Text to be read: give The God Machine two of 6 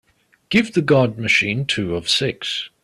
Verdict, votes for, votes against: rejected, 0, 2